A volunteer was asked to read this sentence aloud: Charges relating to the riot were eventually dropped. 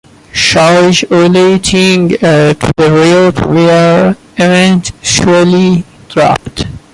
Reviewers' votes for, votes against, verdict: 0, 2, rejected